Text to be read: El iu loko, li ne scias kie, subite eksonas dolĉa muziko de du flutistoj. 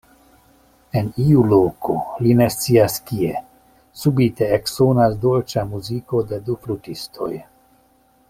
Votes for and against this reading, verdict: 0, 2, rejected